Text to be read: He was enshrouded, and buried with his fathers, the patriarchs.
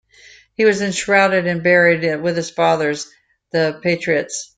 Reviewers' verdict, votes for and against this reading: rejected, 1, 2